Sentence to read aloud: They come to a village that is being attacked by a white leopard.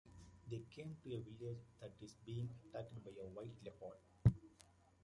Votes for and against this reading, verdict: 1, 2, rejected